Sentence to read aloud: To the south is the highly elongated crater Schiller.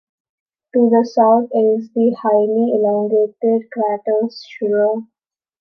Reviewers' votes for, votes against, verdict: 0, 2, rejected